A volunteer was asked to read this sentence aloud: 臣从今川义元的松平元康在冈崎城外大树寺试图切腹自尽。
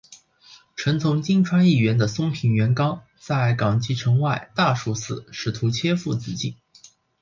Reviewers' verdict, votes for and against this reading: rejected, 1, 2